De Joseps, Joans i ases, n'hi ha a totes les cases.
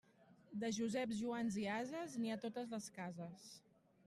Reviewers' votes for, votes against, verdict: 3, 0, accepted